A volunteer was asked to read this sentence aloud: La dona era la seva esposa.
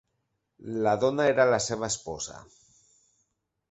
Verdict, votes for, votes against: accepted, 3, 0